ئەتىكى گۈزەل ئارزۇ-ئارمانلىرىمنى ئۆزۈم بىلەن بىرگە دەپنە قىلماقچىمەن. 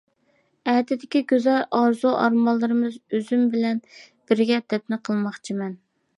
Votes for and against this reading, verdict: 0, 2, rejected